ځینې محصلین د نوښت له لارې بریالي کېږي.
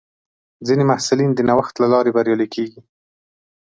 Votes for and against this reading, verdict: 2, 0, accepted